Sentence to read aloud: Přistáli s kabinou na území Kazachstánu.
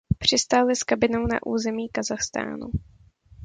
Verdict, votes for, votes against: accepted, 2, 0